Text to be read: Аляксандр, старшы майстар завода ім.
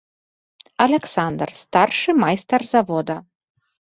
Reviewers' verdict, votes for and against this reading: rejected, 0, 2